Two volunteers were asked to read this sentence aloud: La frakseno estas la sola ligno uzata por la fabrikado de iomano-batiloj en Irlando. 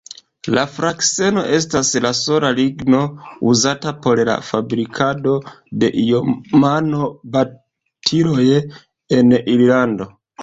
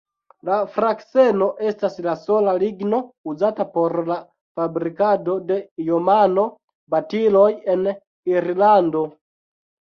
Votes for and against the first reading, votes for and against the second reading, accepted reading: 2, 0, 0, 2, first